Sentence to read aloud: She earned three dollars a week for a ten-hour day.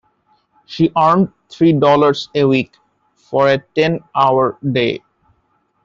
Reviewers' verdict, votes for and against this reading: accepted, 2, 0